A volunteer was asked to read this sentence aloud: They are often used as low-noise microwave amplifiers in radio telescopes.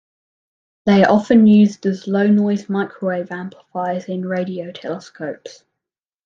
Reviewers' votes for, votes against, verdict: 0, 2, rejected